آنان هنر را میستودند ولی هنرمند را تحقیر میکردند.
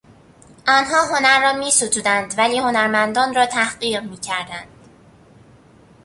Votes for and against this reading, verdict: 1, 2, rejected